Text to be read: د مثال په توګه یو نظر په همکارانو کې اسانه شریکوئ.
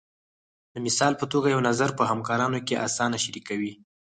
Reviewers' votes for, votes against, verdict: 2, 4, rejected